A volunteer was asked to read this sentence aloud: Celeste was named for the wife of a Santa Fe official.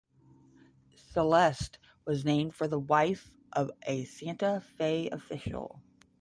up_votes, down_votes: 10, 0